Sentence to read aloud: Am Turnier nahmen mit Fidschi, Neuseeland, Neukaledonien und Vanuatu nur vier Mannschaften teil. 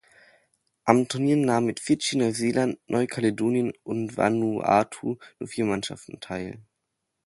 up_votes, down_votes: 2, 0